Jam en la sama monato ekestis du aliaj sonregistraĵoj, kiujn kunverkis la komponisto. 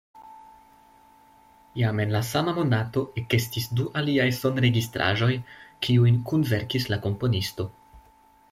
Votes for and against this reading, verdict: 2, 0, accepted